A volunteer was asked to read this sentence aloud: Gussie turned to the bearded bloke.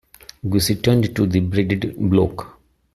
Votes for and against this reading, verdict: 0, 2, rejected